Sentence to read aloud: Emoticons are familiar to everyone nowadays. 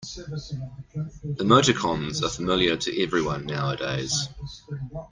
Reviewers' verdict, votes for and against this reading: accepted, 2, 0